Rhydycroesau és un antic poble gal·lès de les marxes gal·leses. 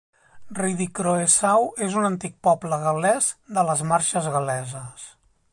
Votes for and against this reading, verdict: 3, 0, accepted